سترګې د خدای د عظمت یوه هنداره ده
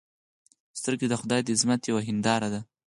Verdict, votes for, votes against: accepted, 4, 0